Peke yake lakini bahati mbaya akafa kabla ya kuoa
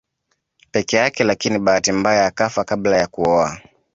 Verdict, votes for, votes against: accepted, 2, 0